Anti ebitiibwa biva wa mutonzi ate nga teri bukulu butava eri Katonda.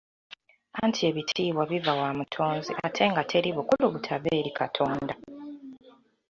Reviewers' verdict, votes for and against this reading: accepted, 2, 0